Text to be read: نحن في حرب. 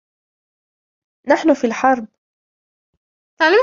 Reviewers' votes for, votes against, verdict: 2, 1, accepted